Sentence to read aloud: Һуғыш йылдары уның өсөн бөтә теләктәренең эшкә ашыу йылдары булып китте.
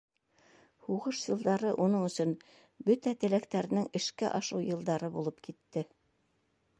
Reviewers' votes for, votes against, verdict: 1, 2, rejected